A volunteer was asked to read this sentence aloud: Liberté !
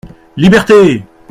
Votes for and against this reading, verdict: 2, 0, accepted